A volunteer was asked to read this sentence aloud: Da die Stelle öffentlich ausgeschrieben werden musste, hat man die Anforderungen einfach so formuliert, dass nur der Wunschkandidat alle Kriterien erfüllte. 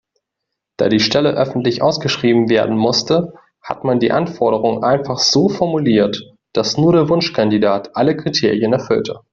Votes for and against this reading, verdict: 2, 0, accepted